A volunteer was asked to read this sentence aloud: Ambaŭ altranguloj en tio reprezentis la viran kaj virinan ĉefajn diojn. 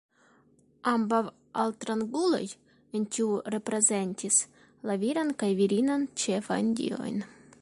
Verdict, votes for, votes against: accepted, 2, 0